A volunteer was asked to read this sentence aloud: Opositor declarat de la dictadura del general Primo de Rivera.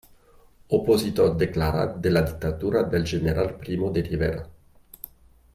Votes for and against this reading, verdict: 2, 0, accepted